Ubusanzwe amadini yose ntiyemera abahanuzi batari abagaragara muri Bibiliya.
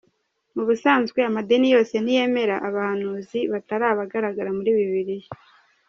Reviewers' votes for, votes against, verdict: 2, 1, accepted